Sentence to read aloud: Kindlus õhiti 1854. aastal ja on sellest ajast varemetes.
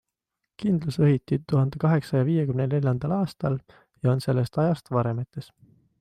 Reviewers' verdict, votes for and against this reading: rejected, 0, 2